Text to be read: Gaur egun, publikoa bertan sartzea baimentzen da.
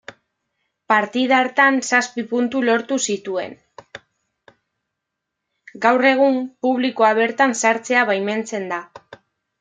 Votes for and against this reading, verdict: 1, 2, rejected